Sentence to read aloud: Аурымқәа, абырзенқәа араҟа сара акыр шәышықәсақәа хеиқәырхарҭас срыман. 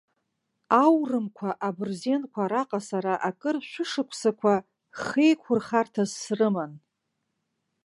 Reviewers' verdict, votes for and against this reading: accepted, 2, 0